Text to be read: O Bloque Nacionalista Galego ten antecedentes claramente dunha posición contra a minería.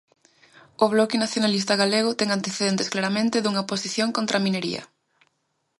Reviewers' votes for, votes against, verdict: 2, 0, accepted